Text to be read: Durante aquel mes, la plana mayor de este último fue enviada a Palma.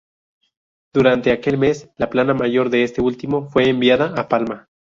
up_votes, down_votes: 0, 2